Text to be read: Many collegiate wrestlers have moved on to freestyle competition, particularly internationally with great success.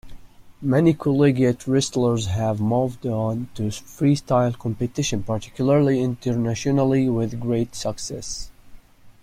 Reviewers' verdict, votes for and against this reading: accepted, 2, 0